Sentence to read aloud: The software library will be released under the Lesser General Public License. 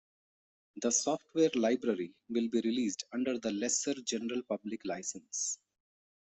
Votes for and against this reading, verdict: 2, 0, accepted